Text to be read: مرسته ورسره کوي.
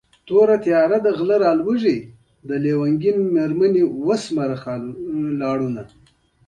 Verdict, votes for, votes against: accepted, 2, 1